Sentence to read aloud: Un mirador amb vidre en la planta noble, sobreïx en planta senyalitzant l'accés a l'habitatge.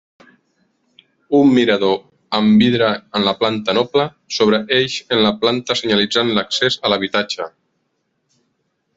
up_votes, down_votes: 0, 2